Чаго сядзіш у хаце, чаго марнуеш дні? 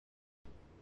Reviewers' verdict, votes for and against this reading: rejected, 0, 2